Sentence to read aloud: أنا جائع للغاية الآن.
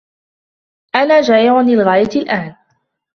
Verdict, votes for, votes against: accepted, 2, 0